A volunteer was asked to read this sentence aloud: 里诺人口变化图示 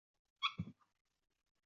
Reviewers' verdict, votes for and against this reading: rejected, 0, 4